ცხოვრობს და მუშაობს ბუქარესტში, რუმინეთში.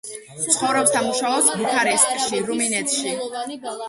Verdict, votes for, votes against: rejected, 1, 2